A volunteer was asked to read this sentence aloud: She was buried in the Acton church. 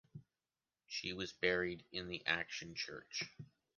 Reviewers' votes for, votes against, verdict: 1, 3, rejected